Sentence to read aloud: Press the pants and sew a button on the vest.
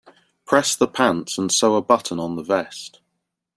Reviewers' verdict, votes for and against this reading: rejected, 1, 2